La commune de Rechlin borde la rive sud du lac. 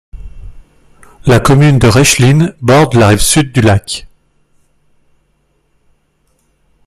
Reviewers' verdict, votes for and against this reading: rejected, 1, 2